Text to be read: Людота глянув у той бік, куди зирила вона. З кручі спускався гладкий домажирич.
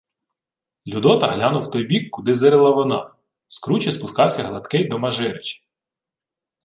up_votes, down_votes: 1, 2